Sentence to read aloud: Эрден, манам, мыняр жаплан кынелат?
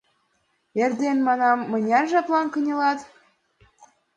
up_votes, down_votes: 2, 0